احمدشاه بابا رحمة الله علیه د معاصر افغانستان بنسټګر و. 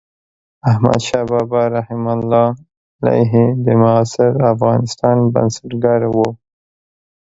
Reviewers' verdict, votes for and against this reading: accepted, 2, 1